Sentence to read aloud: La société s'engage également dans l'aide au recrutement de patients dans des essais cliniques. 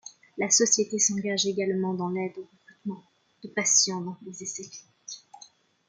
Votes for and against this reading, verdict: 0, 2, rejected